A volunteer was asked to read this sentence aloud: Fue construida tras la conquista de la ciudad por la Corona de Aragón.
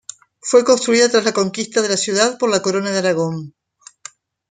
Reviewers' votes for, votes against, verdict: 3, 0, accepted